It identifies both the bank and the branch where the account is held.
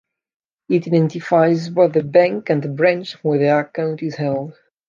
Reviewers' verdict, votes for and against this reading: accepted, 2, 0